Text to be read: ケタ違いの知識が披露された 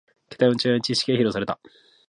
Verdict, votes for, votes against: rejected, 0, 2